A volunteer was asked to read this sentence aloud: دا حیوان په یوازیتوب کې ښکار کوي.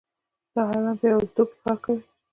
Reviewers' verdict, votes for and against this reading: rejected, 1, 2